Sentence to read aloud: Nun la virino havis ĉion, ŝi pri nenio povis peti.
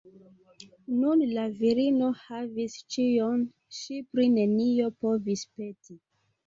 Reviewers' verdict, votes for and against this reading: accepted, 2, 0